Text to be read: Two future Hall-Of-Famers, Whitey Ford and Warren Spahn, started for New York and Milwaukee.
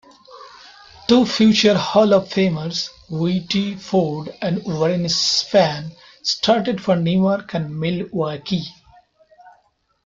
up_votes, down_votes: 0, 2